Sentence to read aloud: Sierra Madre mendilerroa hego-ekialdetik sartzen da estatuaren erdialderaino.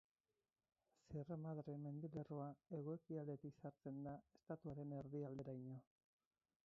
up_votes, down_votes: 2, 4